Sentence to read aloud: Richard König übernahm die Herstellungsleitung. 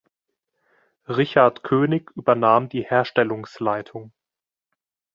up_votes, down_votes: 2, 0